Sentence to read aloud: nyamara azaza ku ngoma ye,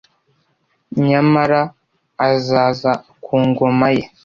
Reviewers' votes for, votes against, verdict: 2, 0, accepted